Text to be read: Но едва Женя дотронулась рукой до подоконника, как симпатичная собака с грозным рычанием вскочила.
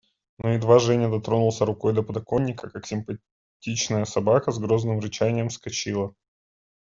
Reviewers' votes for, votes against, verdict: 1, 2, rejected